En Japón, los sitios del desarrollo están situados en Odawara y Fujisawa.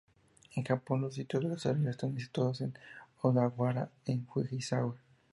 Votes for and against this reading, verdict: 4, 0, accepted